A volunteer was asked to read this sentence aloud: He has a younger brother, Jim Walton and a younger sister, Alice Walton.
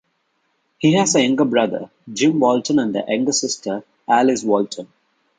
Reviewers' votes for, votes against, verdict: 3, 2, accepted